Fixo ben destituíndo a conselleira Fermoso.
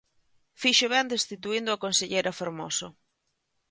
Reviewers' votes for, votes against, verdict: 2, 1, accepted